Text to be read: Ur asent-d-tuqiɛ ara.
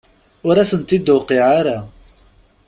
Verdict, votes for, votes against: accepted, 2, 0